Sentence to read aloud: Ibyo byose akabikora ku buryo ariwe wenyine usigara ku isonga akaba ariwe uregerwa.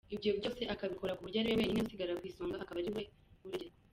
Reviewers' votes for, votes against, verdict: 0, 2, rejected